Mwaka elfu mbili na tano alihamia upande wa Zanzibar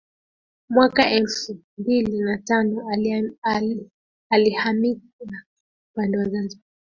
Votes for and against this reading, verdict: 0, 2, rejected